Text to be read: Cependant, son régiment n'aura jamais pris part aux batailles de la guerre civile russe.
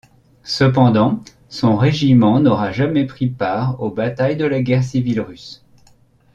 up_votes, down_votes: 2, 0